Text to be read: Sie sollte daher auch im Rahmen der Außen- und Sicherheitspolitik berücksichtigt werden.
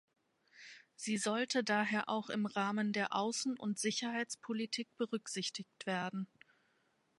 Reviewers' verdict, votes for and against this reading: accepted, 2, 0